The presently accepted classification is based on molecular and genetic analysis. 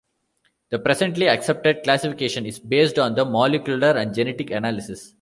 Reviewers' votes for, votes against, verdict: 0, 2, rejected